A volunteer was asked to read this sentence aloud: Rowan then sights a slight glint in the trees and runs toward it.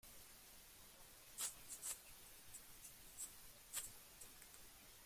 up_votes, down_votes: 0, 2